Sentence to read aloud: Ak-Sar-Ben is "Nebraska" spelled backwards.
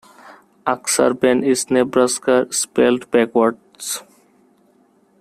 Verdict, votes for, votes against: accepted, 2, 0